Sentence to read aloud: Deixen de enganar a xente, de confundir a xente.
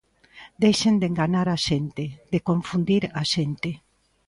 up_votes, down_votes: 2, 0